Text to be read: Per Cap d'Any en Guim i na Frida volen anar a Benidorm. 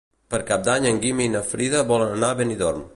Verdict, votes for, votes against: accepted, 2, 0